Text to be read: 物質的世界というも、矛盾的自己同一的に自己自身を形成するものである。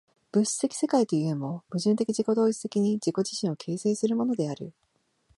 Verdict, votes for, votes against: accepted, 2, 0